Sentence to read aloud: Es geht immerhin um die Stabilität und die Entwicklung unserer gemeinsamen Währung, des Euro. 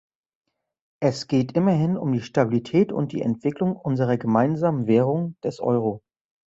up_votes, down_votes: 2, 0